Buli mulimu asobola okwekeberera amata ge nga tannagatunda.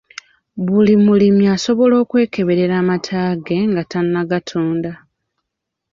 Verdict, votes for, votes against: rejected, 1, 2